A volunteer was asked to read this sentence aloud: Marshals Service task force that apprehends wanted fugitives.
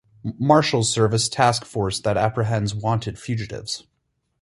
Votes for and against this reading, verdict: 4, 0, accepted